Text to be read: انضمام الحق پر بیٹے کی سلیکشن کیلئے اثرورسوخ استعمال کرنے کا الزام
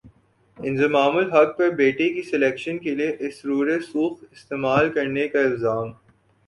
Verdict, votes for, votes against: accepted, 7, 4